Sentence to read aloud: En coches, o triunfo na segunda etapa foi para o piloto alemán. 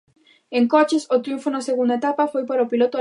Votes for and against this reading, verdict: 0, 2, rejected